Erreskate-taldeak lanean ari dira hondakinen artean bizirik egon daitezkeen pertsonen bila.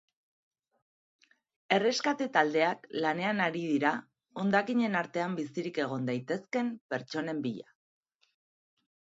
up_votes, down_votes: 1, 2